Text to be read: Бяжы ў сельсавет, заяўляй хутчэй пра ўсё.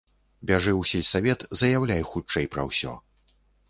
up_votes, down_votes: 2, 0